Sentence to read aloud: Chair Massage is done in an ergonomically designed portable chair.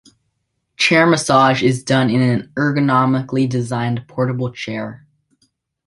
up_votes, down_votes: 2, 0